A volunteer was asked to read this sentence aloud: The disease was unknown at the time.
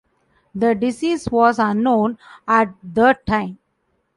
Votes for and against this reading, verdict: 2, 0, accepted